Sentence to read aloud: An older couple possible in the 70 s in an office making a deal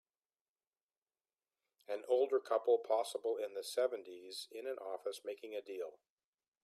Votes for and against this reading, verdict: 0, 2, rejected